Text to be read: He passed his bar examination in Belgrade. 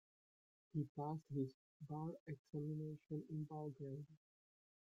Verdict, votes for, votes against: accepted, 2, 1